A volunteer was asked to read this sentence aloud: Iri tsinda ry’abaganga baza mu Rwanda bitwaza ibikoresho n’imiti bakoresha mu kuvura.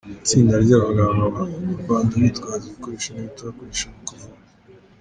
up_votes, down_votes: 1, 2